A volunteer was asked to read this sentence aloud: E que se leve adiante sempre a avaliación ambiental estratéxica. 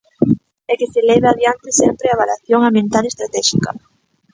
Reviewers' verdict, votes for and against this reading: rejected, 0, 2